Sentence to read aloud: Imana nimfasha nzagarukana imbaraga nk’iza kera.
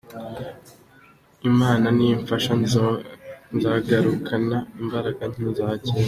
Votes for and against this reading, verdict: 1, 2, rejected